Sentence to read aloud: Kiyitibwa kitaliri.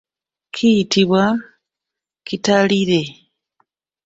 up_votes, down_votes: 0, 2